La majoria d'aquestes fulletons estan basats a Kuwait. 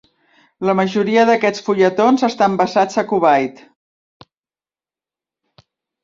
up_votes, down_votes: 1, 2